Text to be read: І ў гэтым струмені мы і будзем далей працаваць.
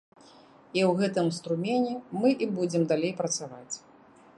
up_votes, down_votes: 3, 0